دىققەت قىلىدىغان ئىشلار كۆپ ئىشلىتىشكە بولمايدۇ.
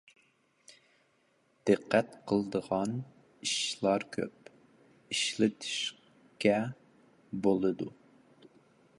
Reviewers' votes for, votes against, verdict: 0, 2, rejected